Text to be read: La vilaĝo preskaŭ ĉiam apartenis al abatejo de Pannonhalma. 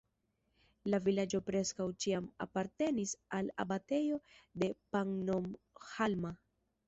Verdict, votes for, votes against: rejected, 2, 3